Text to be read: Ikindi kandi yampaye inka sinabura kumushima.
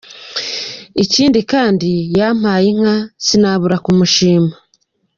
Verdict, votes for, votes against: accepted, 2, 0